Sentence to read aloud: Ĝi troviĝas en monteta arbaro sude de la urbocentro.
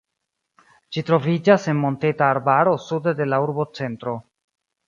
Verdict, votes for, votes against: accepted, 2, 0